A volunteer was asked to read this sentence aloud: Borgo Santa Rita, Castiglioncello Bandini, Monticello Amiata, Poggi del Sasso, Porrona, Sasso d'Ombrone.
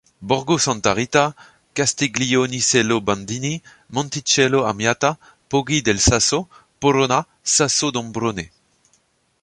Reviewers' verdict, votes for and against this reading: rejected, 1, 2